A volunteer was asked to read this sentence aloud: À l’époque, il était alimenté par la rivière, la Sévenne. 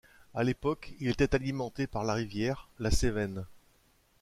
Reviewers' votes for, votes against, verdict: 2, 1, accepted